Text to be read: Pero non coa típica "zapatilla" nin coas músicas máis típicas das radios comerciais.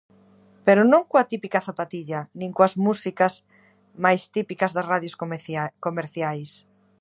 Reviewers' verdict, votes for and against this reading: rejected, 0, 2